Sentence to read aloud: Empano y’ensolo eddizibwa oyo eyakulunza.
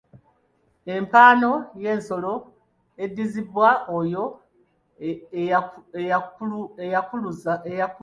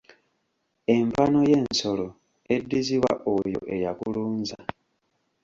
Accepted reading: first